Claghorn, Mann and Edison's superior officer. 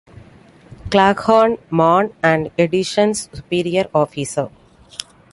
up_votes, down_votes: 2, 0